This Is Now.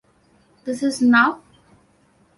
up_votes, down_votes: 2, 0